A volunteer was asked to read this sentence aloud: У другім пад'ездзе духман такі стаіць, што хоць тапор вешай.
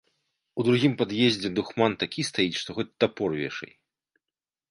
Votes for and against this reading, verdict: 2, 0, accepted